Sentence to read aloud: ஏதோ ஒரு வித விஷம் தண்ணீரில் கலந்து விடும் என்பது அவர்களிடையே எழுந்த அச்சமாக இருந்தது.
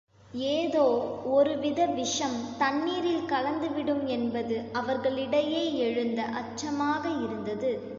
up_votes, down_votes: 2, 0